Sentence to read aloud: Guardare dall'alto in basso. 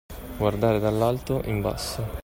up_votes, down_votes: 2, 1